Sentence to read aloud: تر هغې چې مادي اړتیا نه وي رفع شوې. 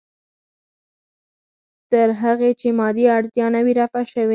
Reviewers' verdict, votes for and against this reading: rejected, 2, 4